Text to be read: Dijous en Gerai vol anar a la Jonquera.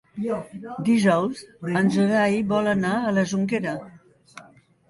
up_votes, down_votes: 0, 2